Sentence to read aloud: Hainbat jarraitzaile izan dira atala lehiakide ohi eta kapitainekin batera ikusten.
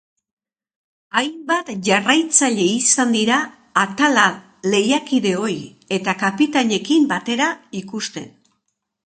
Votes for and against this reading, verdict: 2, 0, accepted